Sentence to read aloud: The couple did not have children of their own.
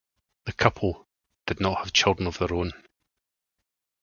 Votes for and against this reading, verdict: 4, 0, accepted